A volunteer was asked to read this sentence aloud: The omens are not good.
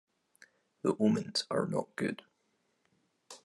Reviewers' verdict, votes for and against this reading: accepted, 2, 0